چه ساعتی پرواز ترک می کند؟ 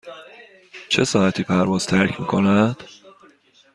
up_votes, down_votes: 2, 0